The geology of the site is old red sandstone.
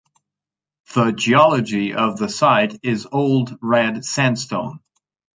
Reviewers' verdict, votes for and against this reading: accepted, 6, 0